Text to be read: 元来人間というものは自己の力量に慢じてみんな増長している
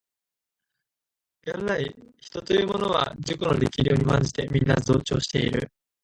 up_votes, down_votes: 0, 3